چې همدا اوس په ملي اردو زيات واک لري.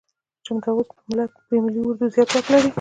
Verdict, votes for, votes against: rejected, 0, 2